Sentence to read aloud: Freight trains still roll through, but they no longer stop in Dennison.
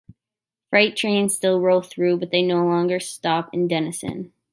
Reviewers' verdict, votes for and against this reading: accepted, 2, 0